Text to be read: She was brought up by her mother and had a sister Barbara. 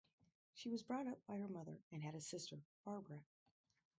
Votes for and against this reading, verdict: 2, 2, rejected